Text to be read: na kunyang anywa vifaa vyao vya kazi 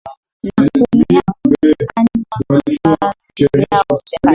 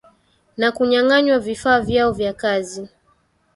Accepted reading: second